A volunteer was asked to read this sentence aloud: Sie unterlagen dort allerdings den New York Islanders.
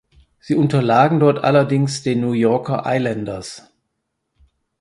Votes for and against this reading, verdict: 2, 4, rejected